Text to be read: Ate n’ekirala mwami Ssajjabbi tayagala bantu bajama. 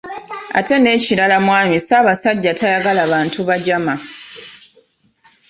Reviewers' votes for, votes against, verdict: 0, 2, rejected